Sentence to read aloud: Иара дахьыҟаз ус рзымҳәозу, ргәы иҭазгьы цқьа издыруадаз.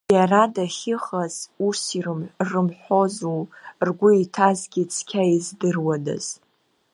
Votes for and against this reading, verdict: 1, 2, rejected